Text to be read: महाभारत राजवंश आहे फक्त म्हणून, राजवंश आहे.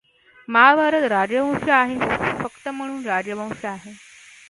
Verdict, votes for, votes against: rejected, 0, 2